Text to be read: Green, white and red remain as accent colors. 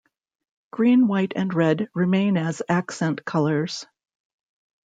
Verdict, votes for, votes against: accepted, 2, 0